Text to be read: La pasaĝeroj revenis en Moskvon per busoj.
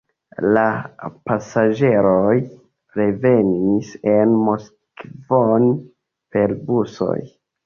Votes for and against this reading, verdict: 2, 3, rejected